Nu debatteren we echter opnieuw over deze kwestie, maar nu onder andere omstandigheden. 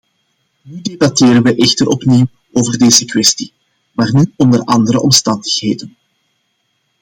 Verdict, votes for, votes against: accepted, 2, 0